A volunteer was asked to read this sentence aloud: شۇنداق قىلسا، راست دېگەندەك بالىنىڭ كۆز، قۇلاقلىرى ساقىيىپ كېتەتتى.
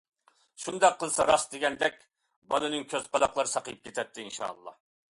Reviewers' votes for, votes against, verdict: 0, 2, rejected